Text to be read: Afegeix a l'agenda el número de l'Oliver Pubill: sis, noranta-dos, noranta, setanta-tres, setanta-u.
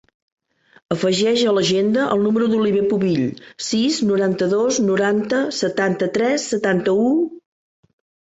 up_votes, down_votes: 1, 2